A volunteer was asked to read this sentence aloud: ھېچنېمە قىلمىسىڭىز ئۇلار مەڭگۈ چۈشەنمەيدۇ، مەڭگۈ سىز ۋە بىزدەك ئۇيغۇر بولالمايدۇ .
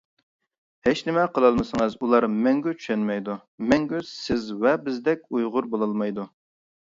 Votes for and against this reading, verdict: 0, 2, rejected